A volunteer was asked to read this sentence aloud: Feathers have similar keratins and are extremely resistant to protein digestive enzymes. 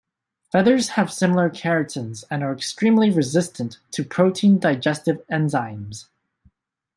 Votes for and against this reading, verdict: 2, 0, accepted